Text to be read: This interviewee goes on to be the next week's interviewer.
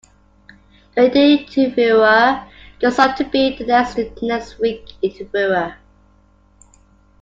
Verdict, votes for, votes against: rejected, 0, 2